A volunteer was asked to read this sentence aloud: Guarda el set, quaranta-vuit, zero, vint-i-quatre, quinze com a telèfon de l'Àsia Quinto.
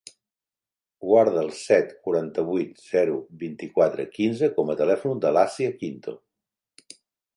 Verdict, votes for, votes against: rejected, 0, 2